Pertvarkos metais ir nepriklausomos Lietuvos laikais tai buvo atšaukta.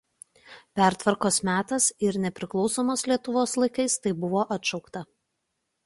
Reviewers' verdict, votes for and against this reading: rejected, 0, 2